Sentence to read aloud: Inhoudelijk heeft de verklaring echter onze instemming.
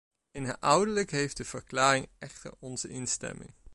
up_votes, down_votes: 0, 2